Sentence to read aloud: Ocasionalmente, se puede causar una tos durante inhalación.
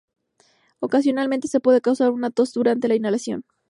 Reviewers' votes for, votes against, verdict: 0, 2, rejected